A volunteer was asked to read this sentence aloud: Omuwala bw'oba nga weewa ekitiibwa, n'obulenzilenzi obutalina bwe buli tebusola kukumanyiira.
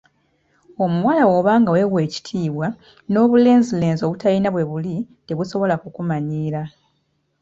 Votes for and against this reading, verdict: 2, 0, accepted